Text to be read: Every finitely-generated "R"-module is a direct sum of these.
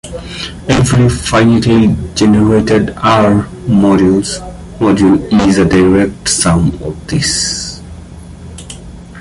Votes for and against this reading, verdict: 0, 2, rejected